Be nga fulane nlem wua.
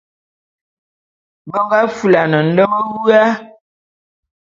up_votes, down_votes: 2, 0